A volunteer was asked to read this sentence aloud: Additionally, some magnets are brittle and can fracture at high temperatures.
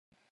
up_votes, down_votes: 1, 2